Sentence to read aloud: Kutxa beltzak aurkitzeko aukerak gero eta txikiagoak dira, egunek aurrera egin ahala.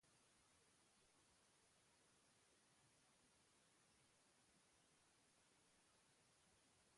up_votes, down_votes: 0, 3